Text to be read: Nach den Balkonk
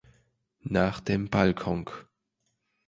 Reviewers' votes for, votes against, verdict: 2, 0, accepted